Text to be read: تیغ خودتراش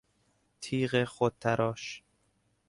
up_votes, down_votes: 2, 0